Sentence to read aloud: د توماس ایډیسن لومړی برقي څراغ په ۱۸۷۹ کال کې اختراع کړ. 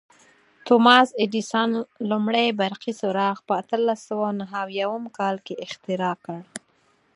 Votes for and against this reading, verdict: 0, 2, rejected